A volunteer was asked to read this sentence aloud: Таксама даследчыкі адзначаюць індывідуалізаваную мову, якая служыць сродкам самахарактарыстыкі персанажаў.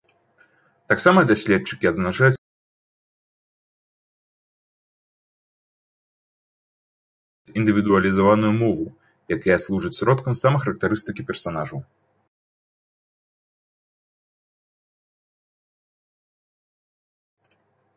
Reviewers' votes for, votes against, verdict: 0, 2, rejected